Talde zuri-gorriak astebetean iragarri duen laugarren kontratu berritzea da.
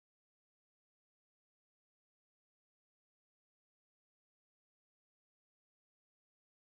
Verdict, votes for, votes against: rejected, 0, 5